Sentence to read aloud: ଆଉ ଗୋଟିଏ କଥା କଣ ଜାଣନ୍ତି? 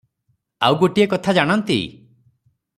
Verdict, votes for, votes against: rejected, 0, 3